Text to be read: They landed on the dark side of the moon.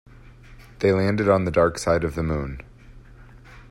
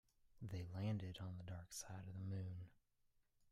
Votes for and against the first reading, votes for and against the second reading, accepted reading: 2, 0, 1, 2, first